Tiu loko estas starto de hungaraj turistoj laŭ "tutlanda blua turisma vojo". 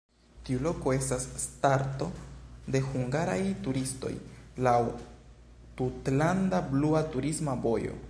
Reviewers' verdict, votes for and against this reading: accepted, 2, 0